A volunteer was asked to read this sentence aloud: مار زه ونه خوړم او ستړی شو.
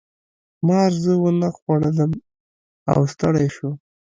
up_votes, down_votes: 1, 2